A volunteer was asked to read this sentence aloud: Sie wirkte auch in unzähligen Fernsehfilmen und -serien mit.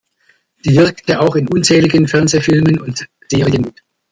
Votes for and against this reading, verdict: 1, 2, rejected